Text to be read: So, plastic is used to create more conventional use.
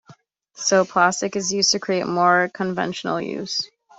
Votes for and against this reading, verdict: 2, 0, accepted